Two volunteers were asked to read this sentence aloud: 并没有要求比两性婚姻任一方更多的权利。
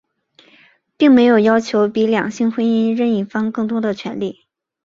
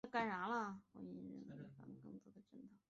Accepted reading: first